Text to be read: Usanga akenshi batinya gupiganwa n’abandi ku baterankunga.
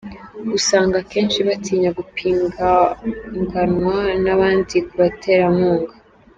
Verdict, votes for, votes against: rejected, 0, 2